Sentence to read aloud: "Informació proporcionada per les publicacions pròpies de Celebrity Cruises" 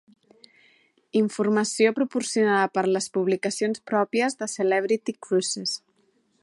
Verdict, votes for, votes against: accepted, 4, 0